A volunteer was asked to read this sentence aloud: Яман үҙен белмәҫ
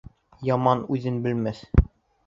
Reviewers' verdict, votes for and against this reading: accepted, 2, 1